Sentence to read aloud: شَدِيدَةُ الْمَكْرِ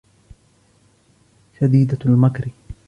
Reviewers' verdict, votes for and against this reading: accepted, 2, 0